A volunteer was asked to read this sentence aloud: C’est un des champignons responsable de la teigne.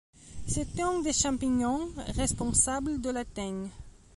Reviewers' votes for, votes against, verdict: 2, 1, accepted